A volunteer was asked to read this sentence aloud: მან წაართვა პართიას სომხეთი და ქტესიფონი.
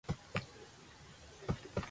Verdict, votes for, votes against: rejected, 0, 2